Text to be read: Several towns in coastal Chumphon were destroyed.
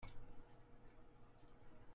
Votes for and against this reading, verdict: 0, 2, rejected